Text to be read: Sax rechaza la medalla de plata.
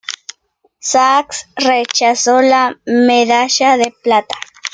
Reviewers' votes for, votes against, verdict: 2, 1, accepted